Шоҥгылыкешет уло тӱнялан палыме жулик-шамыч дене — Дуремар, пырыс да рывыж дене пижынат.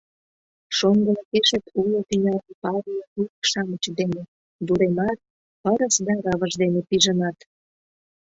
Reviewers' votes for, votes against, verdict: 0, 2, rejected